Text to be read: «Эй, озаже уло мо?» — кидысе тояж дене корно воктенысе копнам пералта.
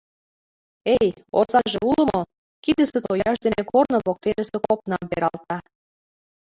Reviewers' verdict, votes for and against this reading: accepted, 2, 0